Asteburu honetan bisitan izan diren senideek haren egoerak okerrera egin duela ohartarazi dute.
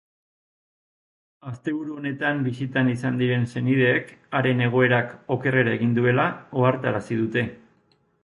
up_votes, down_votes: 2, 2